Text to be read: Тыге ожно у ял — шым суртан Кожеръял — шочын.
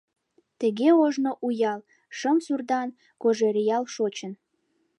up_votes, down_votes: 2, 0